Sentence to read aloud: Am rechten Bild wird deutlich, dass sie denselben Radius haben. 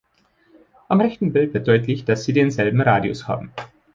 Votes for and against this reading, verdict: 2, 0, accepted